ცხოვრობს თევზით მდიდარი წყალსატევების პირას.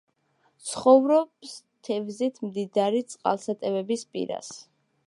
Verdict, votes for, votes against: accepted, 2, 0